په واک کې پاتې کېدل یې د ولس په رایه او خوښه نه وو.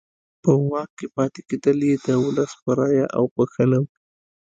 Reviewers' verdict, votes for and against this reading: accepted, 2, 0